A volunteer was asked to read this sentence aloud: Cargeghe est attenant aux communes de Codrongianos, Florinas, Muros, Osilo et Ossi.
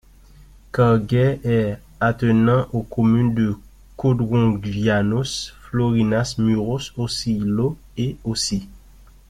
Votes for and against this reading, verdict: 1, 2, rejected